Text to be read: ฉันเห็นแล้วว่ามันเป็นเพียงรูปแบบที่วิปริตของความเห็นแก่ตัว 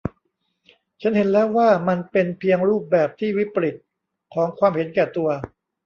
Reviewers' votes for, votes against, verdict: 0, 2, rejected